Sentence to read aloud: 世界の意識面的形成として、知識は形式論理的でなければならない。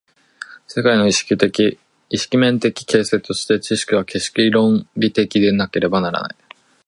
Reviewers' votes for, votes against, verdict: 2, 4, rejected